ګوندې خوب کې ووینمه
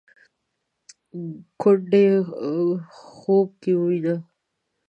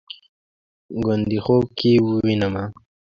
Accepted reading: second